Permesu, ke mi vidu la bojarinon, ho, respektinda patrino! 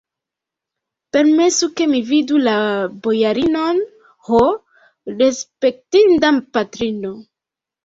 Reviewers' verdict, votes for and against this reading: rejected, 1, 2